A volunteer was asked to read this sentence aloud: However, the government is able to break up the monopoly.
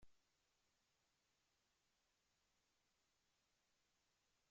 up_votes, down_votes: 0, 2